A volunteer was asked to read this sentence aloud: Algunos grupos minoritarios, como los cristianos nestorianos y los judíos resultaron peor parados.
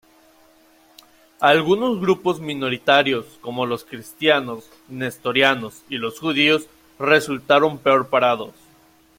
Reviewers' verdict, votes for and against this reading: accepted, 2, 0